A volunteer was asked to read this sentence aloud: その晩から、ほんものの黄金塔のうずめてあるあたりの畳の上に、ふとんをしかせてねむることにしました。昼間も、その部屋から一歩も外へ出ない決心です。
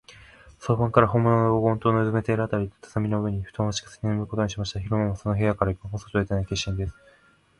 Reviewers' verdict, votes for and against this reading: rejected, 1, 2